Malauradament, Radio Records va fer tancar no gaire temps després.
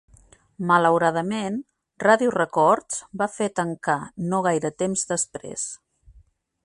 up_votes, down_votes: 3, 0